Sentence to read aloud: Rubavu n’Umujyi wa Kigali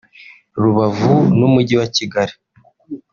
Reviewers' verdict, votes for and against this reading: rejected, 1, 2